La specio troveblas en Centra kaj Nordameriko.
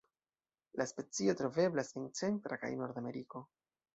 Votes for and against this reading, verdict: 3, 0, accepted